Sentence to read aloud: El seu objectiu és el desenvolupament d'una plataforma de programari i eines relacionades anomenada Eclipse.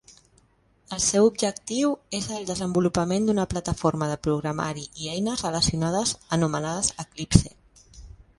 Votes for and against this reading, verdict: 0, 2, rejected